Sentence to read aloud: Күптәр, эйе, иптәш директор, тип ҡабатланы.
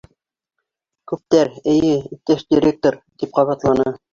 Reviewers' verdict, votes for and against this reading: accepted, 3, 0